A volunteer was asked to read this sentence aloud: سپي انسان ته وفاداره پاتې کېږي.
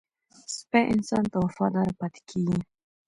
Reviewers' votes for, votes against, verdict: 1, 2, rejected